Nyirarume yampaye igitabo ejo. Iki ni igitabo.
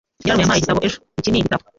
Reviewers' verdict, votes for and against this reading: rejected, 0, 2